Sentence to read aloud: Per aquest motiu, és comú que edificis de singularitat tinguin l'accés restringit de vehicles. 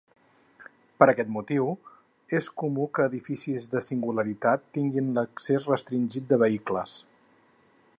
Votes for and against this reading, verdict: 4, 2, accepted